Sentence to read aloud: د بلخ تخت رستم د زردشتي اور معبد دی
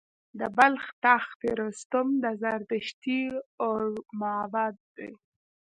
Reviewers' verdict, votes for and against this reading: accepted, 2, 1